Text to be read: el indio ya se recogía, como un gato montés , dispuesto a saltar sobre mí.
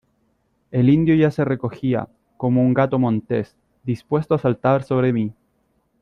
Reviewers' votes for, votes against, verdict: 2, 1, accepted